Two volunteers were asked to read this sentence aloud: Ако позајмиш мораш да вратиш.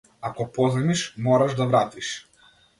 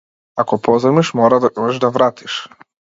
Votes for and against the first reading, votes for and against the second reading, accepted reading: 2, 0, 0, 2, first